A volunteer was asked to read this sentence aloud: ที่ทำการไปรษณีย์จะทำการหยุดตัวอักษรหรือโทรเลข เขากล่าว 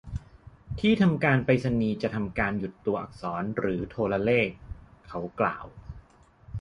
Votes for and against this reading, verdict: 2, 0, accepted